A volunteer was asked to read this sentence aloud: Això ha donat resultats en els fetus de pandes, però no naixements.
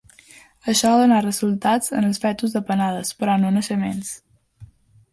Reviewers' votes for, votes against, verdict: 1, 2, rejected